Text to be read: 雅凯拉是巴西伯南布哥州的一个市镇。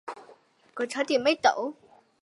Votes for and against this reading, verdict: 1, 2, rejected